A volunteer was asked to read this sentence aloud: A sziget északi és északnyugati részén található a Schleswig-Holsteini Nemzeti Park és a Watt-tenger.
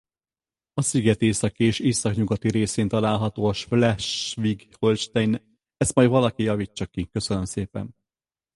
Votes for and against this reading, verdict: 0, 4, rejected